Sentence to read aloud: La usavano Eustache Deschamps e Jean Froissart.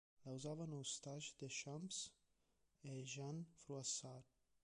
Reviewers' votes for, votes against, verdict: 1, 2, rejected